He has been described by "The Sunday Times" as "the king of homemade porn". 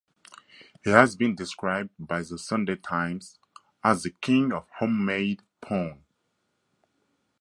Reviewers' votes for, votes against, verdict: 4, 0, accepted